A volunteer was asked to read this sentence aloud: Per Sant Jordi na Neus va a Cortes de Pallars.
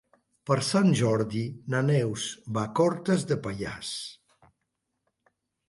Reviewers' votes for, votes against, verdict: 3, 0, accepted